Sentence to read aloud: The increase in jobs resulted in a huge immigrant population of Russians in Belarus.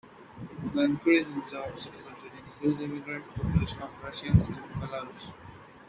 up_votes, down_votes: 2, 0